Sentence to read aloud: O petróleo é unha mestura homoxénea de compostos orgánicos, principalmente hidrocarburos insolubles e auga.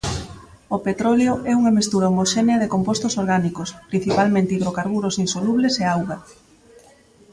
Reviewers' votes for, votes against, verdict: 2, 0, accepted